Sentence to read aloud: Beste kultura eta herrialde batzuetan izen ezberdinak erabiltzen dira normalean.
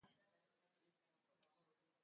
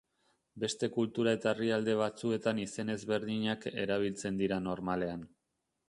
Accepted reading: second